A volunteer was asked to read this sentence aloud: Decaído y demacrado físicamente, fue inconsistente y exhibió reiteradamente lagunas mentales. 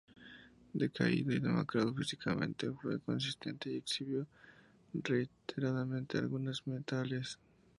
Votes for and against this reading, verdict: 2, 0, accepted